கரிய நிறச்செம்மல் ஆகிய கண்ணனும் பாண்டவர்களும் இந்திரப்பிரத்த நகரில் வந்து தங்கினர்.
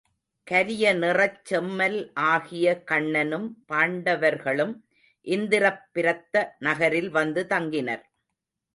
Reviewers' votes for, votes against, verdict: 1, 2, rejected